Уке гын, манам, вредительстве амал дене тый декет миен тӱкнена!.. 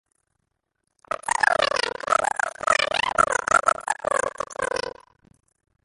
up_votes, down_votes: 0, 2